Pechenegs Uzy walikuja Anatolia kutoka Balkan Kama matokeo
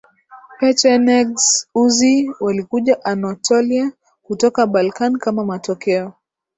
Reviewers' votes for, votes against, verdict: 8, 2, accepted